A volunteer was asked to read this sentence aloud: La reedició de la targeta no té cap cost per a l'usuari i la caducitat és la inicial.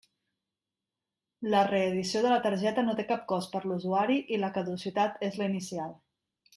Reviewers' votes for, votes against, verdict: 2, 0, accepted